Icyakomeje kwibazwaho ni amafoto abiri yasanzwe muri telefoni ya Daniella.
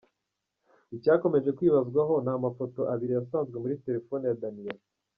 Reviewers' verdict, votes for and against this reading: accepted, 2, 1